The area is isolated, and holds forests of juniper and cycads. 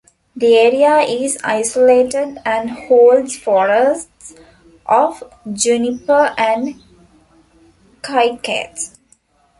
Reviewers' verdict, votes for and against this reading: rejected, 1, 2